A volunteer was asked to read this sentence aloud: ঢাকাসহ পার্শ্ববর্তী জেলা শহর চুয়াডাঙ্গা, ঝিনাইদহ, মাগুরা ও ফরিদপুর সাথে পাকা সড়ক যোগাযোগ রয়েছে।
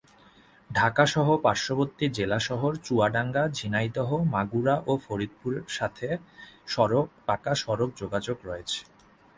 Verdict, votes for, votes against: rejected, 0, 2